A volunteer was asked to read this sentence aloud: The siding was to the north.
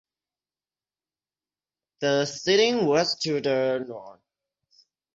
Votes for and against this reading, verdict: 6, 0, accepted